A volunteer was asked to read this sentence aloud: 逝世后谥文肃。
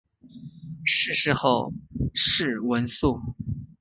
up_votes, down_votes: 2, 2